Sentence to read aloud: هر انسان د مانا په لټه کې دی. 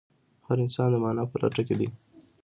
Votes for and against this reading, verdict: 2, 0, accepted